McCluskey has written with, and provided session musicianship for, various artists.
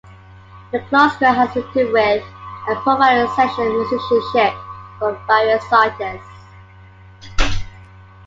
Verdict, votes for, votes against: rejected, 1, 2